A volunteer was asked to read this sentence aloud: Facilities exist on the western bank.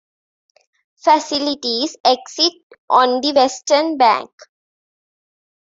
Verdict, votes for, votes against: rejected, 1, 2